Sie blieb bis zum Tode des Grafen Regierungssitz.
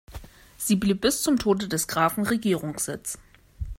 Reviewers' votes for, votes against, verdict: 0, 2, rejected